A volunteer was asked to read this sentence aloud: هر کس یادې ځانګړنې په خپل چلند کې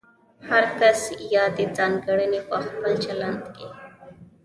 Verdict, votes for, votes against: accepted, 2, 0